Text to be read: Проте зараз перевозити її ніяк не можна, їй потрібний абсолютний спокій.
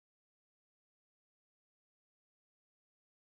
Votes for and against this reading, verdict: 0, 2, rejected